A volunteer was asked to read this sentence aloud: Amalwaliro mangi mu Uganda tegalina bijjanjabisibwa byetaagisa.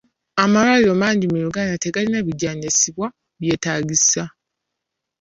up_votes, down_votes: 1, 2